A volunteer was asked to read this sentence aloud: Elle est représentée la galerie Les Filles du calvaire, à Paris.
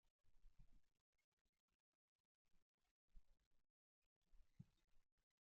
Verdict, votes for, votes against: rejected, 0, 2